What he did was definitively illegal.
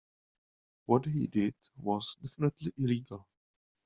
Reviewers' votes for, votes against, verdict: 1, 2, rejected